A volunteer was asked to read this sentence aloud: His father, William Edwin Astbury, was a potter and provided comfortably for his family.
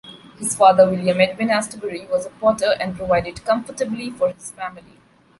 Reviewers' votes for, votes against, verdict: 2, 1, accepted